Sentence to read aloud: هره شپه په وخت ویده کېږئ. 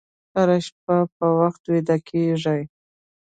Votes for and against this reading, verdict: 0, 2, rejected